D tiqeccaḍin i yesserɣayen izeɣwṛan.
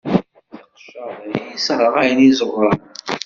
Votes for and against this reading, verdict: 1, 2, rejected